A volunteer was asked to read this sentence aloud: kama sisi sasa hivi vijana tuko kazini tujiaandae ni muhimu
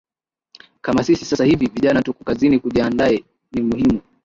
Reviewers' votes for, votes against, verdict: 3, 0, accepted